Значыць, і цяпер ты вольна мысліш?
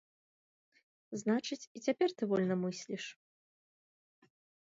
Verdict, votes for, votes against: accepted, 2, 0